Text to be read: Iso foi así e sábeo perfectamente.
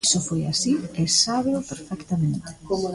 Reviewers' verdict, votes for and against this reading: rejected, 0, 2